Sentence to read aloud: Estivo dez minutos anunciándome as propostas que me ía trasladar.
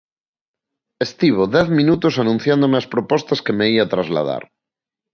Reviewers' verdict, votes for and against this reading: accepted, 2, 0